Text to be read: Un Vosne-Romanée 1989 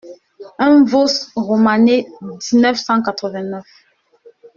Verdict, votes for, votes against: rejected, 0, 2